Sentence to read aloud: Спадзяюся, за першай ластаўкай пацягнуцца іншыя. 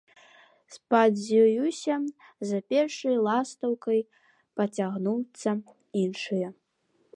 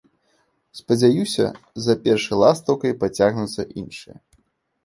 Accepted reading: second